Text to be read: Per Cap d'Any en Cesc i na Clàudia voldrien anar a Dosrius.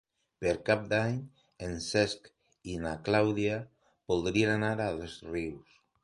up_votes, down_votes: 1, 2